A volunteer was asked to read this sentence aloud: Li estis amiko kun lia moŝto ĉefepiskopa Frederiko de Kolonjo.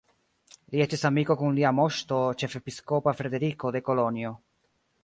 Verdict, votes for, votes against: rejected, 1, 2